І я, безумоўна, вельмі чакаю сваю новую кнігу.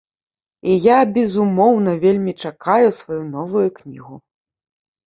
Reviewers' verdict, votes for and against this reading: accepted, 2, 0